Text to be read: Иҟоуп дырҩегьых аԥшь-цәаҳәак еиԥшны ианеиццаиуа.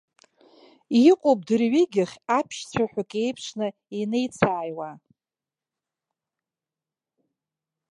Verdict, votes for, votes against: rejected, 2, 3